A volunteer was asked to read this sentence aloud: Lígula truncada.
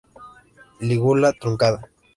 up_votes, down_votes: 3, 0